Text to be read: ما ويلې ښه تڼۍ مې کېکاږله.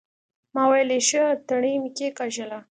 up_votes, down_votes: 2, 0